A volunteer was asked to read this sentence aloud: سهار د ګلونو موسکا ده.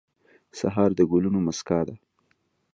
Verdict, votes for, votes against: accepted, 2, 0